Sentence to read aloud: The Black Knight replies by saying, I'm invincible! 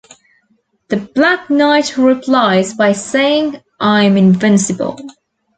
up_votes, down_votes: 2, 0